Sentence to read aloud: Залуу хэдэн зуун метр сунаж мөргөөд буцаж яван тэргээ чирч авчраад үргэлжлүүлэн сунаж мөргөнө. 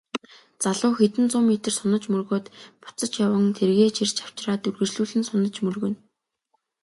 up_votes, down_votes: 2, 0